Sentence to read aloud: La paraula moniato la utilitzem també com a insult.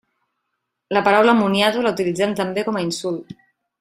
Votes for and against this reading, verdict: 3, 0, accepted